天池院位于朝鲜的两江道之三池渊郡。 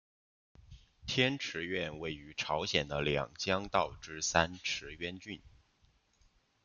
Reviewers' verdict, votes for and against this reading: rejected, 1, 2